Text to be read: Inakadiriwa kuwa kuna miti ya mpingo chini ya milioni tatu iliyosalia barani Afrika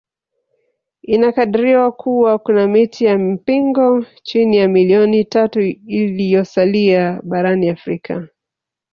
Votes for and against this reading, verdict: 3, 1, accepted